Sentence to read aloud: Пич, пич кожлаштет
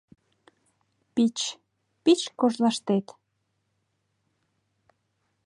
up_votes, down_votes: 2, 0